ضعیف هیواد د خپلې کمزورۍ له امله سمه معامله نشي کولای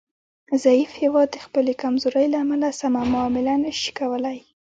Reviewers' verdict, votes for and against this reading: accepted, 2, 1